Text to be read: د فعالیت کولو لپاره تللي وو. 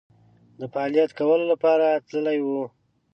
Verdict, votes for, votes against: accepted, 2, 0